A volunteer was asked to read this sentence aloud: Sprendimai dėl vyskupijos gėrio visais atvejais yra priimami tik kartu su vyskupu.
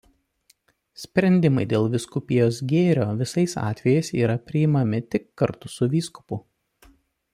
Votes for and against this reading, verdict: 2, 0, accepted